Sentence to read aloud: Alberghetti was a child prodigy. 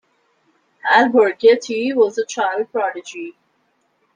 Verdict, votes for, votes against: accepted, 2, 0